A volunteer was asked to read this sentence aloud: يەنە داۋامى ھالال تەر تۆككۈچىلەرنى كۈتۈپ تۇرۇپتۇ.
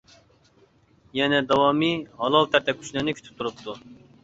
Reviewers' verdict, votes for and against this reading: rejected, 0, 2